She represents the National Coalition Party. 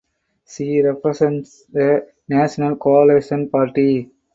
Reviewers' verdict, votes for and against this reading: rejected, 2, 4